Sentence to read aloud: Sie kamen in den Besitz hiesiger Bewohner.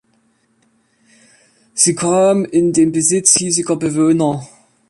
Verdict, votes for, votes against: rejected, 1, 2